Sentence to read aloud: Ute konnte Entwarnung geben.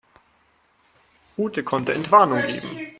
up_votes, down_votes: 4, 2